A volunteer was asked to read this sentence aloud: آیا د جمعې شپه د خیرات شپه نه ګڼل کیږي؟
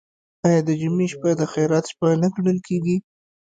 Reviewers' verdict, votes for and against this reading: rejected, 0, 2